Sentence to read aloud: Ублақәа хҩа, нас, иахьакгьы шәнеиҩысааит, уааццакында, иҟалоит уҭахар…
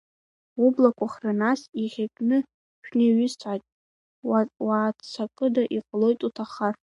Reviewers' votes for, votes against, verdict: 3, 0, accepted